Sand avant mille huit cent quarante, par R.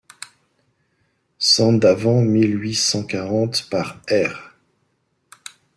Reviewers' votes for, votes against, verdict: 2, 0, accepted